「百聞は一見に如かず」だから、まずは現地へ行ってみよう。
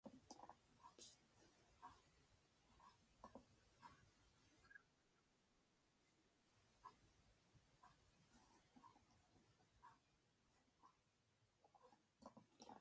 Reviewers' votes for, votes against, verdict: 0, 2, rejected